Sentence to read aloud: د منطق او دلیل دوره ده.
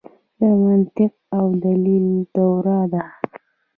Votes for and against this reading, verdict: 1, 2, rejected